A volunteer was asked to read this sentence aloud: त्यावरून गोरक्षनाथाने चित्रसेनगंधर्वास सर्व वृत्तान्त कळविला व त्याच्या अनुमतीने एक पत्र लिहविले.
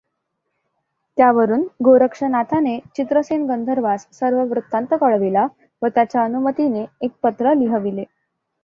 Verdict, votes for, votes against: accepted, 2, 0